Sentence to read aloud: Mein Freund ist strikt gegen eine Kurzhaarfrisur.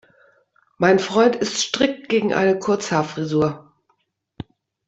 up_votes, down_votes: 2, 0